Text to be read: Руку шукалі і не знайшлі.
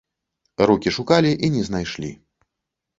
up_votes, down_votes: 0, 2